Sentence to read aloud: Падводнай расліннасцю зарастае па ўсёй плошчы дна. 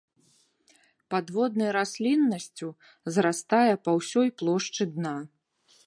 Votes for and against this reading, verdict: 2, 0, accepted